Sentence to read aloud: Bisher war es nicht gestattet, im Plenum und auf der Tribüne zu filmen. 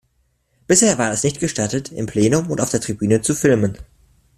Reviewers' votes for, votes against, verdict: 2, 0, accepted